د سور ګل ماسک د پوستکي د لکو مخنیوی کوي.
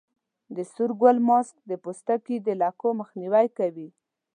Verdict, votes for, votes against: accepted, 2, 0